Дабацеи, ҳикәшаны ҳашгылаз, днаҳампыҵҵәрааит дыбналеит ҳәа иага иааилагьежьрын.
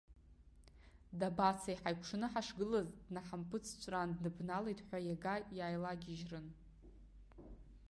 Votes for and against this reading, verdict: 1, 2, rejected